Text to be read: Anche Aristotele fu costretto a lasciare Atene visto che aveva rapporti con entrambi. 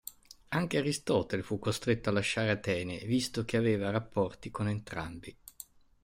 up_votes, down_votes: 2, 0